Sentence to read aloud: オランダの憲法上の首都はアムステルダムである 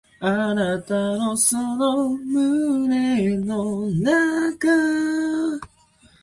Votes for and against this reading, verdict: 2, 3, rejected